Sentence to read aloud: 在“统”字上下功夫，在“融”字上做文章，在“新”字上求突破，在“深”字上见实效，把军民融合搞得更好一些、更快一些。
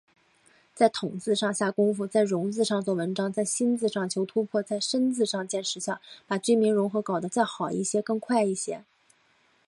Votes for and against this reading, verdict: 3, 0, accepted